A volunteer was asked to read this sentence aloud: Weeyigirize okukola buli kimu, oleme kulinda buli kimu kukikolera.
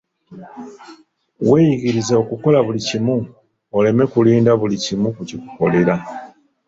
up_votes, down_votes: 3, 1